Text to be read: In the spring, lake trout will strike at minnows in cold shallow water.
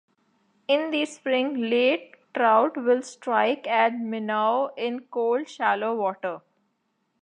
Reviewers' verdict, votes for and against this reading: rejected, 0, 2